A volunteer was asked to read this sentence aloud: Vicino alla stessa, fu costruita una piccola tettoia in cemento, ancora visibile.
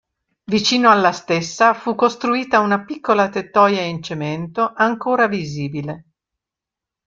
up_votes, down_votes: 2, 0